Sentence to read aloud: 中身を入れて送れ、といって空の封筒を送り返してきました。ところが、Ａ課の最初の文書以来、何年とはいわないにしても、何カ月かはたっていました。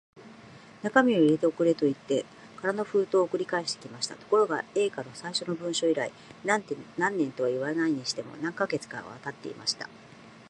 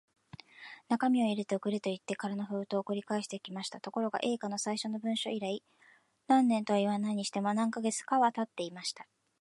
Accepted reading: second